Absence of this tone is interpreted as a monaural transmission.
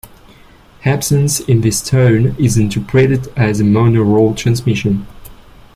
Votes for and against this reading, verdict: 1, 2, rejected